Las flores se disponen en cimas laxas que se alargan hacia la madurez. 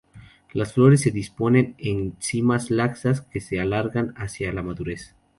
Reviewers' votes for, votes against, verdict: 2, 0, accepted